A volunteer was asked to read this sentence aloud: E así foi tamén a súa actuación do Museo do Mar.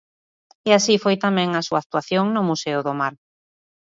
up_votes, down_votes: 2, 0